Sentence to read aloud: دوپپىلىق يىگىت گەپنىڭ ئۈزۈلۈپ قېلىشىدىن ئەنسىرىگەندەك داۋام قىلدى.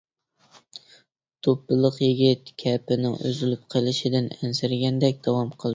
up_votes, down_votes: 0, 2